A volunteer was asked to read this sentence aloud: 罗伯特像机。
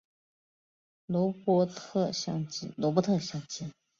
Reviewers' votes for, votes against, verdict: 3, 0, accepted